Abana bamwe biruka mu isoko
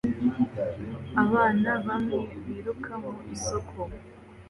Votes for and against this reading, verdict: 2, 0, accepted